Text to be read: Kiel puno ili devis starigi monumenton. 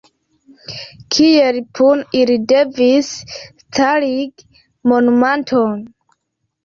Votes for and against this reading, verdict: 2, 1, accepted